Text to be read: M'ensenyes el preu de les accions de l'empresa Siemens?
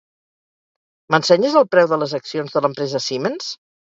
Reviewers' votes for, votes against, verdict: 2, 2, rejected